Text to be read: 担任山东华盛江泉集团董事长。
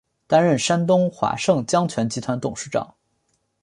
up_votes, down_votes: 2, 0